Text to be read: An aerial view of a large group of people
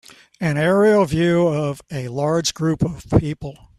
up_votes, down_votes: 3, 0